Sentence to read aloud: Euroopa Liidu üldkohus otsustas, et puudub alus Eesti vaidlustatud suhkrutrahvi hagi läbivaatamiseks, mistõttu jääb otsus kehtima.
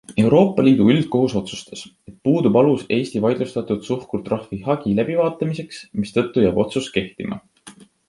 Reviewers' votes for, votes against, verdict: 2, 0, accepted